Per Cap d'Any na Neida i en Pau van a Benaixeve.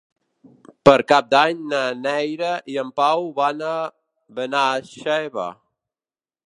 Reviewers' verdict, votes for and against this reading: rejected, 0, 3